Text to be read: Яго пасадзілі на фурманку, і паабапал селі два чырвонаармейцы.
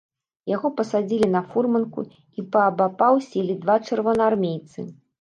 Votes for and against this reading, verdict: 1, 2, rejected